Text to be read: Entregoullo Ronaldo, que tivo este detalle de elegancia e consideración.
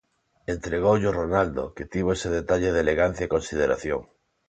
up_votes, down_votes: 0, 2